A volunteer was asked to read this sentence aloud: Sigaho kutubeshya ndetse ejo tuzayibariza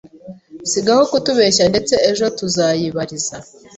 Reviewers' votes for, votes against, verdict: 2, 0, accepted